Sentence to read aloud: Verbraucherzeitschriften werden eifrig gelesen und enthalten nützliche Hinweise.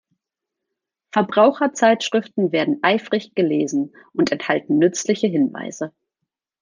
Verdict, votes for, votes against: accepted, 2, 0